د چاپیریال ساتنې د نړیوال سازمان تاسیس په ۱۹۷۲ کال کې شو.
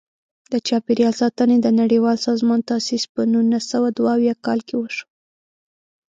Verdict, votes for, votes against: rejected, 0, 2